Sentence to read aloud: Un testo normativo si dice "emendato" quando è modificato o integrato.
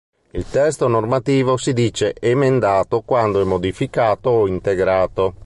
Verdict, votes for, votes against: rejected, 1, 2